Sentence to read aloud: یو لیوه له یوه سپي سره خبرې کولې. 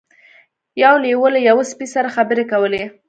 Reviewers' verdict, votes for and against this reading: accepted, 2, 0